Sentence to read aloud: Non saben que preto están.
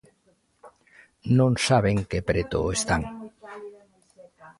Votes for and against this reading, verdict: 1, 2, rejected